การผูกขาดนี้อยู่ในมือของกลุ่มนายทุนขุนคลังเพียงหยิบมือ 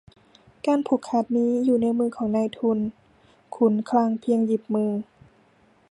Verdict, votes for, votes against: rejected, 0, 2